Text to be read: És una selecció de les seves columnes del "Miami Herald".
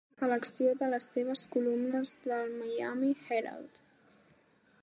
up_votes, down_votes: 0, 3